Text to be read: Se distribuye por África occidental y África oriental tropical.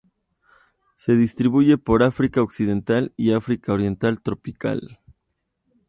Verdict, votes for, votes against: accepted, 2, 0